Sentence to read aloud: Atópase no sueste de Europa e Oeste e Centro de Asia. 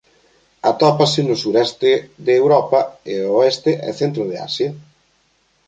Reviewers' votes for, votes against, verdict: 1, 2, rejected